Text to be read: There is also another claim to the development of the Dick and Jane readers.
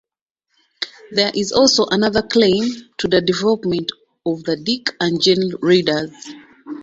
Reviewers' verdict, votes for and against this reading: accepted, 2, 0